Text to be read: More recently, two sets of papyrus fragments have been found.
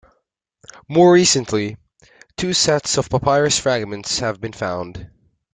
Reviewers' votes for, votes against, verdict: 2, 0, accepted